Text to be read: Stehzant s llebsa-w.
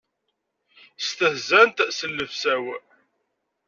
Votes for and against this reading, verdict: 2, 0, accepted